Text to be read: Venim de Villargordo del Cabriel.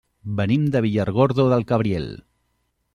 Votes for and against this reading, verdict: 3, 0, accepted